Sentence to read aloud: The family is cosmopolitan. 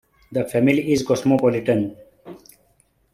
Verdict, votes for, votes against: accepted, 2, 1